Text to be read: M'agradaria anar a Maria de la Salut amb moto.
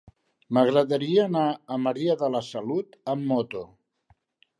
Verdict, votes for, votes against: accepted, 6, 0